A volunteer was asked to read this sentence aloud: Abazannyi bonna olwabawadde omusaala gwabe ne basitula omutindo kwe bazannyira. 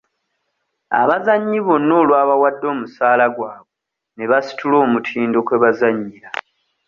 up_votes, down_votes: 2, 0